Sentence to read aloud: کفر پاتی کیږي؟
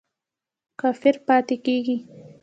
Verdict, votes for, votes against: rejected, 0, 2